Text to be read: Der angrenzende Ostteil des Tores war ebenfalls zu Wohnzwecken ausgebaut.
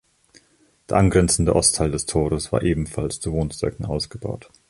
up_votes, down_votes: 2, 0